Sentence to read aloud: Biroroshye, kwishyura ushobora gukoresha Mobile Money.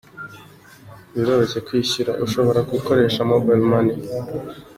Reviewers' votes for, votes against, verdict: 2, 0, accepted